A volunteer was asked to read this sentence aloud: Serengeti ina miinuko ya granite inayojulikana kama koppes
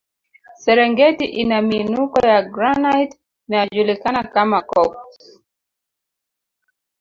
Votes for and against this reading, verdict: 2, 4, rejected